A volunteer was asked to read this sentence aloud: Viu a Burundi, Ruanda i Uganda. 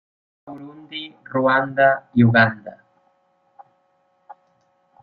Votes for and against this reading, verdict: 0, 2, rejected